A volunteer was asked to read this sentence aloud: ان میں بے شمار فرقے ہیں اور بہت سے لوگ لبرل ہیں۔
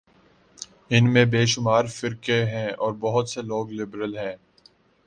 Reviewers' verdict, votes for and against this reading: accepted, 5, 0